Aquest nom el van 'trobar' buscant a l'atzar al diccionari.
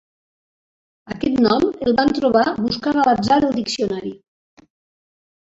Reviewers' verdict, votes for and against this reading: rejected, 1, 2